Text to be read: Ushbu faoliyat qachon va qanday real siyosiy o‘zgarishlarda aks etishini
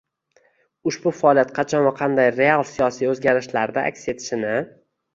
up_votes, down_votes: 1, 2